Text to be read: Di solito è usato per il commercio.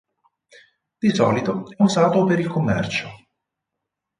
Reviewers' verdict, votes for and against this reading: rejected, 2, 6